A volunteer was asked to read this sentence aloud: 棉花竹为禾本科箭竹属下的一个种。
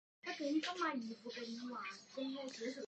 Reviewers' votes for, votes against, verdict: 0, 3, rejected